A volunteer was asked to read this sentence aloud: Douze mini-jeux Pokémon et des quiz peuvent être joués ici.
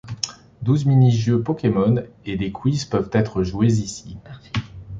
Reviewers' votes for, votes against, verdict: 2, 1, accepted